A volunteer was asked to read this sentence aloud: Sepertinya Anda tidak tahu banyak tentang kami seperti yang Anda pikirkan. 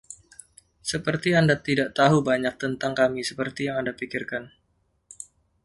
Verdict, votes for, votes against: rejected, 1, 2